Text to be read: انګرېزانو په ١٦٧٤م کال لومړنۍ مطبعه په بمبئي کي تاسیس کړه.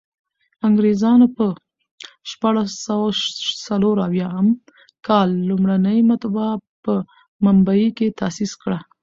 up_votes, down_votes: 0, 2